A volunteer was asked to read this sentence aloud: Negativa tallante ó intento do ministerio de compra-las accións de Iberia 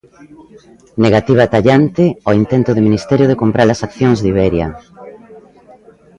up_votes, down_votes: 1, 2